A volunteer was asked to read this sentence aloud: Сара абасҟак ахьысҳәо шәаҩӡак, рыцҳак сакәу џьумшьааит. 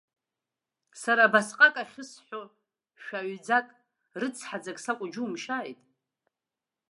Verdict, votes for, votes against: rejected, 1, 2